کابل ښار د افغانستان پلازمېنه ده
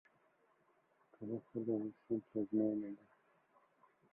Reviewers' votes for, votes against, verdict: 0, 2, rejected